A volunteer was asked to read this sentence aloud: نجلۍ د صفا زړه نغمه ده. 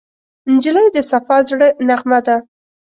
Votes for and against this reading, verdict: 2, 0, accepted